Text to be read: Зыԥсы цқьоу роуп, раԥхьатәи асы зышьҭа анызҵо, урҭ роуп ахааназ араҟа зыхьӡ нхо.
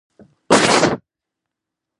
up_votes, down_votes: 0, 2